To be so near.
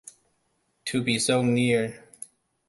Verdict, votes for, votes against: accepted, 2, 0